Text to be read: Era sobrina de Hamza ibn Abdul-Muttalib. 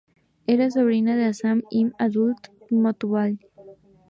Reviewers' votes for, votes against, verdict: 2, 2, rejected